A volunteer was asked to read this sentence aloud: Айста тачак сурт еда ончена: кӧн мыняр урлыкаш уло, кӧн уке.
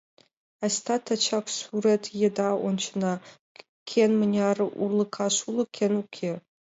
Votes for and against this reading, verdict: 1, 2, rejected